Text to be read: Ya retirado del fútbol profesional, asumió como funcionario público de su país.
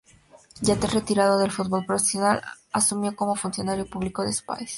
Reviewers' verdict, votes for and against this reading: rejected, 0, 2